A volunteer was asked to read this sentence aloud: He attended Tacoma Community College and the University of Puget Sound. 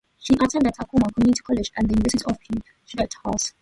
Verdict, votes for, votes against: rejected, 0, 2